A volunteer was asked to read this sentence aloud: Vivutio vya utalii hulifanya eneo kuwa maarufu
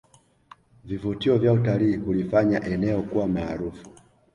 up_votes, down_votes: 2, 0